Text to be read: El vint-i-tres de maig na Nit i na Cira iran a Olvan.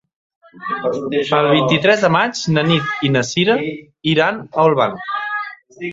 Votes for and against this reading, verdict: 2, 1, accepted